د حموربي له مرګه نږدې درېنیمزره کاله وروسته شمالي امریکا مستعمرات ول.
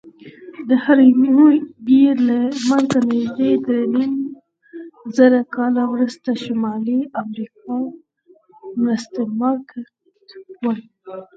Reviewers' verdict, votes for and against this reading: rejected, 0, 4